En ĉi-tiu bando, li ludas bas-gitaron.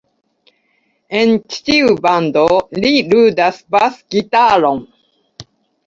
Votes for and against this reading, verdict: 2, 0, accepted